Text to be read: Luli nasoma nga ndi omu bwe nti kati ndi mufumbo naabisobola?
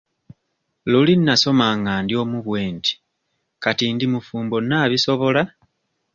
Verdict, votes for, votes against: accepted, 2, 0